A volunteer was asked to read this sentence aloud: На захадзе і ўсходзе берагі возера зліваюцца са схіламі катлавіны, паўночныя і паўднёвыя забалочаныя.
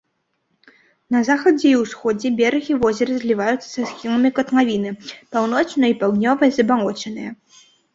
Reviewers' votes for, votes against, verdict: 0, 2, rejected